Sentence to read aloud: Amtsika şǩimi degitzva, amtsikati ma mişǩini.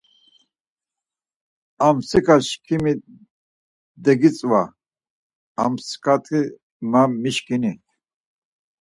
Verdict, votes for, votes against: accepted, 4, 0